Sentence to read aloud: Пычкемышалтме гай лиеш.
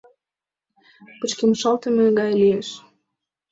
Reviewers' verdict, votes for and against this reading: accepted, 2, 1